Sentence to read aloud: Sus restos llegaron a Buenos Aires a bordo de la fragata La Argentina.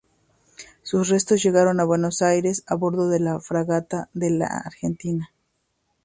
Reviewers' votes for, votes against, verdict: 0, 2, rejected